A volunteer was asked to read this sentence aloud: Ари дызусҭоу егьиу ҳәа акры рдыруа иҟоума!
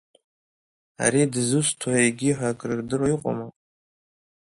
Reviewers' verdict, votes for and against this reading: accepted, 2, 0